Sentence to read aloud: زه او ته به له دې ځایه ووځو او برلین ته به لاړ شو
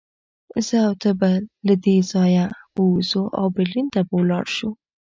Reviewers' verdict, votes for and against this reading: rejected, 1, 2